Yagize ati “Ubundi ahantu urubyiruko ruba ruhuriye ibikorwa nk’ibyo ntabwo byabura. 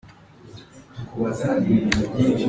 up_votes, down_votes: 0, 2